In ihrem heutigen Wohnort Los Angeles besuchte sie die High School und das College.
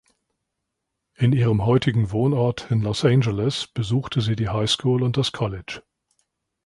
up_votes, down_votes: 1, 2